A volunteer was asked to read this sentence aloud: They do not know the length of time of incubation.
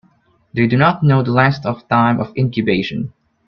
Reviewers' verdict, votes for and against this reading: rejected, 0, 2